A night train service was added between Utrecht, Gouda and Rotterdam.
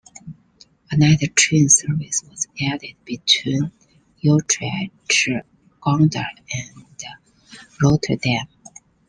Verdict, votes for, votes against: accepted, 2, 0